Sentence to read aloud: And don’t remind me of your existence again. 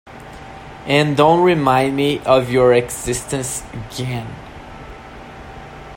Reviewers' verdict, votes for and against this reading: accepted, 2, 0